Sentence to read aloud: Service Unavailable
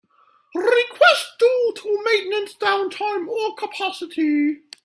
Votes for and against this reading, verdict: 0, 4, rejected